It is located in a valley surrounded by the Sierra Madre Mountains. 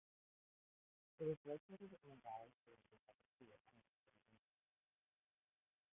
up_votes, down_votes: 0, 2